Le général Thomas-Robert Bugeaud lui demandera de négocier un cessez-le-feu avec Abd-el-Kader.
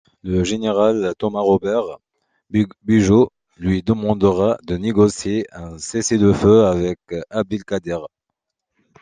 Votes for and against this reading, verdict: 1, 2, rejected